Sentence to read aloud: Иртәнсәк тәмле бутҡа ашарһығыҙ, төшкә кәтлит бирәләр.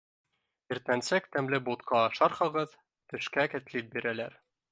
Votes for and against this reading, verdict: 0, 2, rejected